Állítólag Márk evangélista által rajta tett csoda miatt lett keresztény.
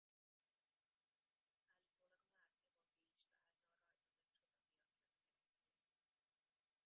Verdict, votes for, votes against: rejected, 0, 2